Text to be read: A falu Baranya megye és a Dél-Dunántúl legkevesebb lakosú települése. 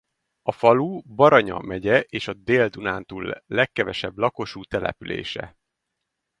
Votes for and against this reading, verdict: 2, 2, rejected